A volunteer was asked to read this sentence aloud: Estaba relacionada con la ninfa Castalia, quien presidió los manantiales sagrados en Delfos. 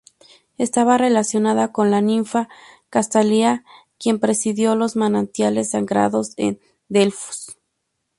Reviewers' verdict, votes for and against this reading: rejected, 2, 2